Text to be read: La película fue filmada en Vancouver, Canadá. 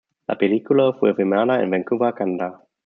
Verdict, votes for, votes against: rejected, 0, 2